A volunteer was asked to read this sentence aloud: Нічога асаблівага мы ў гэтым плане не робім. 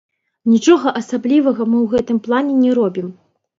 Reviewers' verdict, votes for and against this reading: rejected, 0, 2